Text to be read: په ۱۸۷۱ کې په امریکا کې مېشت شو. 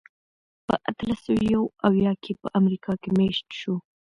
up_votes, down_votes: 0, 2